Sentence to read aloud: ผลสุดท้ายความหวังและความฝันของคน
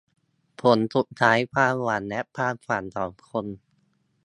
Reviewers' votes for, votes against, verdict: 2, 0, accepted